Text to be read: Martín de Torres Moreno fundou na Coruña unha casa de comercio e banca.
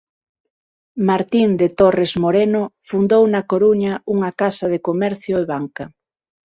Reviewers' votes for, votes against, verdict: 0, 6, rejected